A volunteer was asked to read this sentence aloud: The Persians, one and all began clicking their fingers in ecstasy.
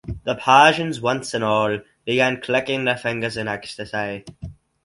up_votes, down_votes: 0, 4